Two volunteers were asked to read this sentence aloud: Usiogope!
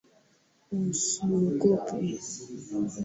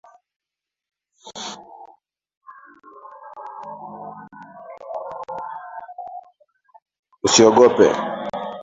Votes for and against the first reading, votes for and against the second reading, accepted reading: 2, 0, 0, 2, first